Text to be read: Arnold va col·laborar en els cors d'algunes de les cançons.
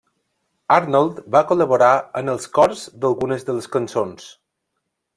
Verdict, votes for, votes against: accepted, 3, 0